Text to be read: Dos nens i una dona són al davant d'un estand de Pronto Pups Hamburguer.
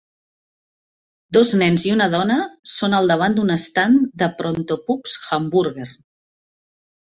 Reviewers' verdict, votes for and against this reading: rejected, 0, 2